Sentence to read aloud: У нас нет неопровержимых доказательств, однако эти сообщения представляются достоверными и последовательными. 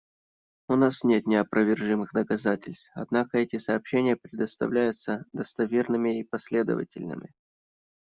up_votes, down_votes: 1, 2